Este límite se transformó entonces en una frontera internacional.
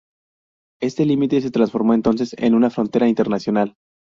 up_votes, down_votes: 2, 2